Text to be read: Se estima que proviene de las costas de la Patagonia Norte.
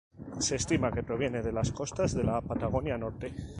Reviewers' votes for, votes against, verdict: 4, 0, accepted